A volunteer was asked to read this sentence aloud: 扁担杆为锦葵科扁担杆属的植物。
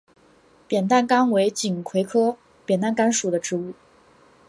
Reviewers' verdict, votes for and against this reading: accepted, 2, 0